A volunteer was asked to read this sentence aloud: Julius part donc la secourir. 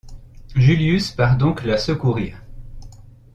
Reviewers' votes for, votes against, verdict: 2, 0, accepted